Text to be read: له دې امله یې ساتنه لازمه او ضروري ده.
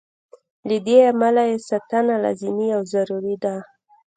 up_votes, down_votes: 2, 0